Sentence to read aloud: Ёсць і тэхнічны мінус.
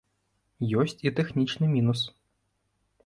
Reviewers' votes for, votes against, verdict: 2, 0, accepted